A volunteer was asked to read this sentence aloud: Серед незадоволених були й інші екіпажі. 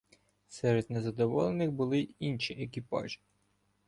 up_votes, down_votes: 2, 1